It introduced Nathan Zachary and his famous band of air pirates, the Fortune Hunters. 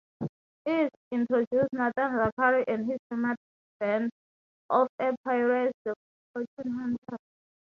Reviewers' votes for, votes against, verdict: 0, 6, rejected